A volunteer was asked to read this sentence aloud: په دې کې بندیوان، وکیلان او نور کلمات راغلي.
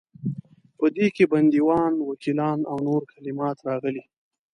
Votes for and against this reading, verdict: 2, 0, accepted